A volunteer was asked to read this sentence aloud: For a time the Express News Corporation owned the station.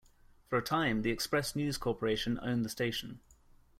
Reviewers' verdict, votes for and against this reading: accepted, 2, 0